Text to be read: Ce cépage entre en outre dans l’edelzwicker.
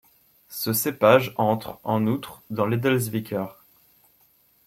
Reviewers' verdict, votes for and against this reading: accepted, 2, 1